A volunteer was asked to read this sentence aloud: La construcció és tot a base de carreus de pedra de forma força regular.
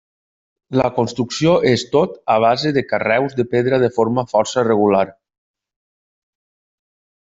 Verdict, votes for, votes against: accepted, 3, 0